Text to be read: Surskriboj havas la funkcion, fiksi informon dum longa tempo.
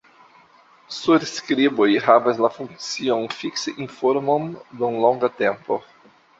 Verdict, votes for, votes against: rejected, 0, 2